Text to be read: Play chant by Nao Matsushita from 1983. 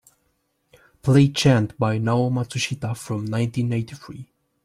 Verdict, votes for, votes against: rejected, 0, 2